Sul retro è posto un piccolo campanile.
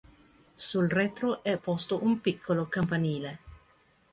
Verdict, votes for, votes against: accepted, 2, 0